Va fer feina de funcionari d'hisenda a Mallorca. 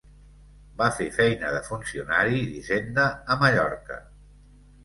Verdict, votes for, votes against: accepted, 2, 0